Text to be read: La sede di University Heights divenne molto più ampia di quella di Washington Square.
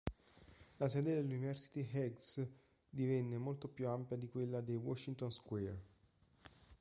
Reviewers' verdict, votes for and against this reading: rejected, 0, 2